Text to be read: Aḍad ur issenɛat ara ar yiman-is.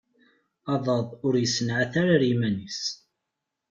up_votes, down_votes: 2, 0